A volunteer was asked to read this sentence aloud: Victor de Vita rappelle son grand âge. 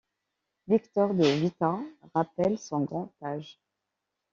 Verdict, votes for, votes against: accepted, 2, 0